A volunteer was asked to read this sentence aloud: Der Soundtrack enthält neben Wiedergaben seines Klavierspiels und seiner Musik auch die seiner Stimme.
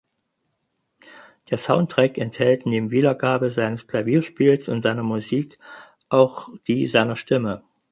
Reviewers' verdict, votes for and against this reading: rejected, 0, 4